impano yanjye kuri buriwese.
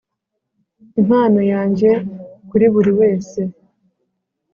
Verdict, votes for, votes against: accepted, 2, 0